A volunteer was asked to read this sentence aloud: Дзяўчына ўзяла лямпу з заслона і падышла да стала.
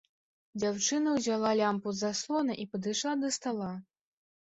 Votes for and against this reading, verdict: 0, 2, rejected